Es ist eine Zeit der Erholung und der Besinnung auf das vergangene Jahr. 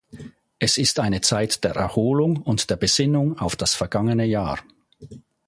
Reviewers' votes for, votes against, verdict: 2, 0, accepted